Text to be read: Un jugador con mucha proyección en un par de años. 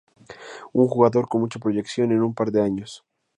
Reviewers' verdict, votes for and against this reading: accepted, 2, 0